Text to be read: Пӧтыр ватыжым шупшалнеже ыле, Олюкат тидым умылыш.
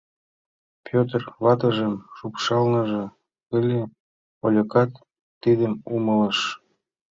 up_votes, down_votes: 2, 1